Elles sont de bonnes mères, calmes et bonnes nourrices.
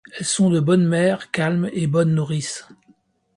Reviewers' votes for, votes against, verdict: 2, 0, accepted